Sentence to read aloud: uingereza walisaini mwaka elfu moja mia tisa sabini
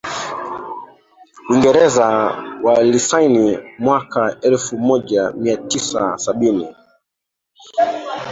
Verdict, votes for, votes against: rejected, 0, 2